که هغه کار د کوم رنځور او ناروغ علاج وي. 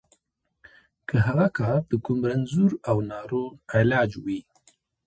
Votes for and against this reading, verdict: 2, 0, accepted